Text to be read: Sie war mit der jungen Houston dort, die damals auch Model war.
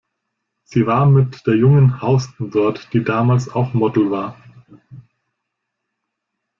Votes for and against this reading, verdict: 1, 2, rejected